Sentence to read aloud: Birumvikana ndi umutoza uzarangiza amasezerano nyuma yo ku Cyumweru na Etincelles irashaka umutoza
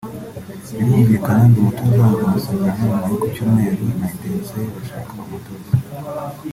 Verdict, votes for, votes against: accepted, 2, 1